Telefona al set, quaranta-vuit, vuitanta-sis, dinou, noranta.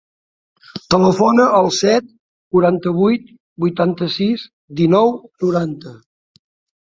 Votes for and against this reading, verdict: 4, 0, accepted